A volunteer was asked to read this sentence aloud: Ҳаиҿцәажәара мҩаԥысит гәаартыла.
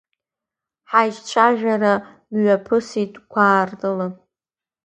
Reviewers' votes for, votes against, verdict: 2, 1, accepted